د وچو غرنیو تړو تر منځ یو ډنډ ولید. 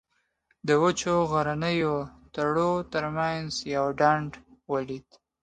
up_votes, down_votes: 2, 0